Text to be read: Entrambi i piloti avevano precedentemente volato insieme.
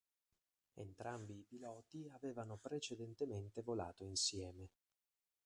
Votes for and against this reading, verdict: 2, 4, rejected